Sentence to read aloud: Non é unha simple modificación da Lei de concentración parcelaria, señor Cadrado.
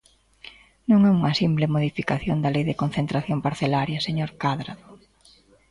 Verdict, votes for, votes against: rejected, 1, 2